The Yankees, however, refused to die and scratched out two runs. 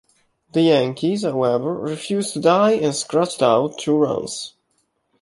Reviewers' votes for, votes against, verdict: 1, 2, rejected